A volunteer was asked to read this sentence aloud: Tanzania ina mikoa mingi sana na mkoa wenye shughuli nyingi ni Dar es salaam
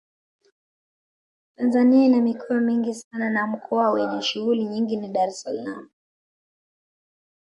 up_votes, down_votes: 2, 0